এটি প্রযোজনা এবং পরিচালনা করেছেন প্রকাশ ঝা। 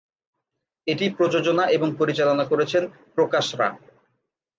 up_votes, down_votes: 0, 2